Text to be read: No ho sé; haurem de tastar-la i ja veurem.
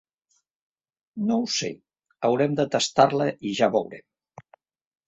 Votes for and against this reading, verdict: 0, 2, rejected